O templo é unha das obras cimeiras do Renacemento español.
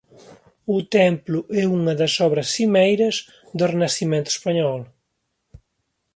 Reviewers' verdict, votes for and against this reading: accepted, 2, 1